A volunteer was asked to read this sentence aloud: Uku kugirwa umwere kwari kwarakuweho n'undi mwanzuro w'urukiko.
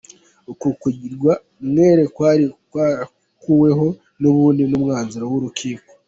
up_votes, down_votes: 1, 2